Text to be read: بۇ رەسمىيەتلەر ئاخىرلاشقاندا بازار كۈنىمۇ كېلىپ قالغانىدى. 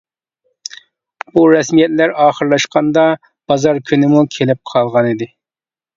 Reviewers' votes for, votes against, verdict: 3, 0, accepted